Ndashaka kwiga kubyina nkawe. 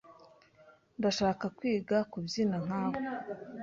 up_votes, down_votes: 2, 0